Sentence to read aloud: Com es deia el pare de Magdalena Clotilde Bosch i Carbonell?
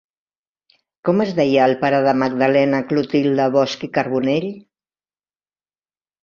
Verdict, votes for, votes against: rejected, 0, 2